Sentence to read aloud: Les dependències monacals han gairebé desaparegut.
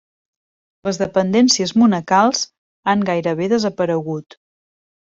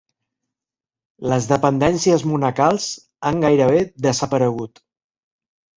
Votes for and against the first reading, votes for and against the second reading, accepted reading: 3, 0, 1, 3, first